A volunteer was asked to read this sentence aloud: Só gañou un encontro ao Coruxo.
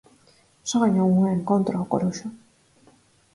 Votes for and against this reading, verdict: 4, 0, accepted